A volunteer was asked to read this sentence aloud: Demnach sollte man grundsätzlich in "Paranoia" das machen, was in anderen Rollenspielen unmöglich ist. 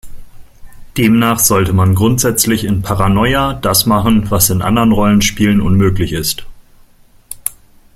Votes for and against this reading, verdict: 2, 0, accepted